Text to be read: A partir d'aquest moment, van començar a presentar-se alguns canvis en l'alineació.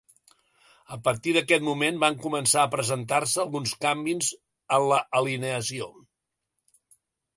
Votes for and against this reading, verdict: 0, 2, rejected